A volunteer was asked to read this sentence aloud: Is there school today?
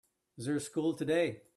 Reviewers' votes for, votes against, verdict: 2, 0, accepted